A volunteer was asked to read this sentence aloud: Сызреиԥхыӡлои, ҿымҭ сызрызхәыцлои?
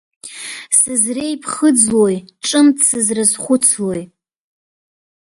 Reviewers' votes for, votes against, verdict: 1, 2, rejected